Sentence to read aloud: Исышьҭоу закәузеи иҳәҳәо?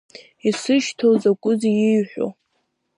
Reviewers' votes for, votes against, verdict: 0, 2, rejected